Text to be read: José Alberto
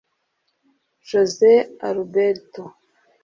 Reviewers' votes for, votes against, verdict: 1, 2, rejected